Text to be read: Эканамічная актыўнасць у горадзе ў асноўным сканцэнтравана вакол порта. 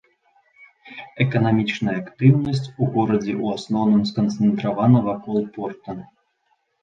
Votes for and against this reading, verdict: 2, 0, accepted